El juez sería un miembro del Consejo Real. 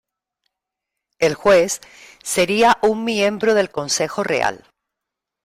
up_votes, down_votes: 2, 0